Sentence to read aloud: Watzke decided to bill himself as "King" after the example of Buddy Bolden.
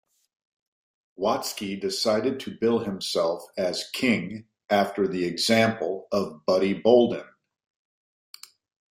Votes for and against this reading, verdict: 2, 0, accepted